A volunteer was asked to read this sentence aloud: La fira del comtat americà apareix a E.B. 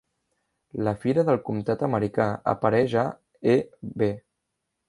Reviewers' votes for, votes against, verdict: 3, 0, accepted